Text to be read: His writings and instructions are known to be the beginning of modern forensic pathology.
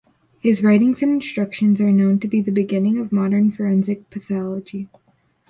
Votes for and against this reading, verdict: 2, 0, accepted